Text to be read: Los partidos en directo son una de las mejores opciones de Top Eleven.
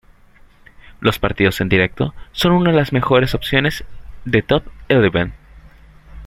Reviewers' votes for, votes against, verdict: 2, 1, accepted